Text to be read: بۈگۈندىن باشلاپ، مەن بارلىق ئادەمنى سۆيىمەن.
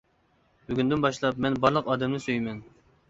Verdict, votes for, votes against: accepted, 2, 0